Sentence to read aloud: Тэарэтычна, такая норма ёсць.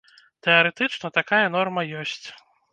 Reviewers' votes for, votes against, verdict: 2, 0, accepted